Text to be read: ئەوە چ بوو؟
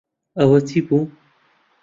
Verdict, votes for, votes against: rejected, 1, 2